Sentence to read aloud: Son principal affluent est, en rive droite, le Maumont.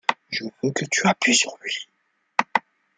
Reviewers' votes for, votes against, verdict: 0, 2, rejected